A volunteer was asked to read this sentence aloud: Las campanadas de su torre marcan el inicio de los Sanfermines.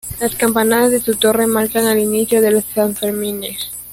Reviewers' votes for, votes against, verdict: 1, 2, rejected